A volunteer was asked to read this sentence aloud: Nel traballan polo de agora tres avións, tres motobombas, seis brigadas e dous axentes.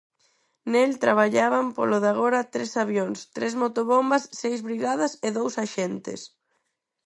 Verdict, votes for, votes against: rejected, 0, 4